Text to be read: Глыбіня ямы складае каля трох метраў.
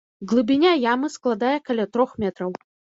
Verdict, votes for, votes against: rejected, 2, 3